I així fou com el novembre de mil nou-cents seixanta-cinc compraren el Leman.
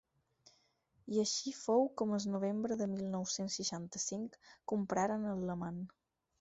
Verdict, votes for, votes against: rejected, 0, 4